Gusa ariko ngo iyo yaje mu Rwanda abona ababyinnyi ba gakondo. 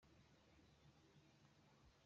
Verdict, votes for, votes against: rejected, 0, 2